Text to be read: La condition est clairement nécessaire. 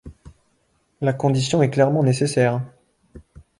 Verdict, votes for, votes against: accepted, 2, 0